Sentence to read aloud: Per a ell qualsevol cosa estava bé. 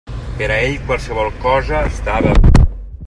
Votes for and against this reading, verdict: 0, 2, rejected